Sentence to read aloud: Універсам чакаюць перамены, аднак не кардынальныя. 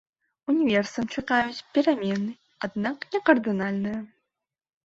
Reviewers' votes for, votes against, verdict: 0, 2, rejected